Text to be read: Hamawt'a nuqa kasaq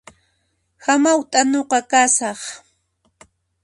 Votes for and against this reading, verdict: 2, 0, accepted